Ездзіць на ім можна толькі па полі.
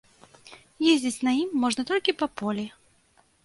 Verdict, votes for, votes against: accepted, 2, 0